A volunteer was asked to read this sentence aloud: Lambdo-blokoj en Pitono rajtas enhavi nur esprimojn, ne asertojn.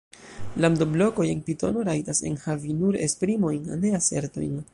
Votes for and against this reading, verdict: 1, 2, rejected